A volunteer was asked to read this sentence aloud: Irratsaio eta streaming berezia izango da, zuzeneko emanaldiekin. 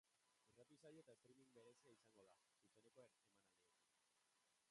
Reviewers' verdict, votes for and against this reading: rejected, 0, 3